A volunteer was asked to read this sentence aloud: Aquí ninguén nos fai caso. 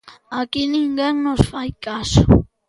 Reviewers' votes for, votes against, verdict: 2, 0, accepted